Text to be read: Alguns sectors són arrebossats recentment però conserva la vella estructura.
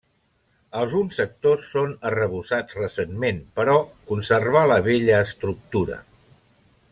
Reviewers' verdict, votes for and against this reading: rejected, 0, 2